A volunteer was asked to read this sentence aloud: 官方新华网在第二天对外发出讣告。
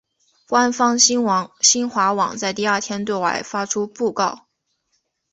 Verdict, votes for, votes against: rejected, 1, 2